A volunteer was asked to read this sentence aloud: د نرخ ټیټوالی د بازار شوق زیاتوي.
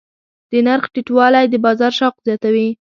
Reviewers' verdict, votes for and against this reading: accepted, 2, 0